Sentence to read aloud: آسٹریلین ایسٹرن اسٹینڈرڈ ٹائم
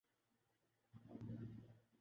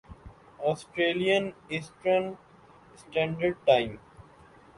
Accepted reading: second